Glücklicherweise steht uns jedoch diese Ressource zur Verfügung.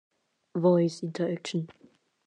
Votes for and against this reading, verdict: 0, 2, rejected